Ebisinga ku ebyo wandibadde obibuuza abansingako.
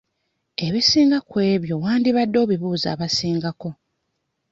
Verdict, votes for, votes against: rejected, 1, 2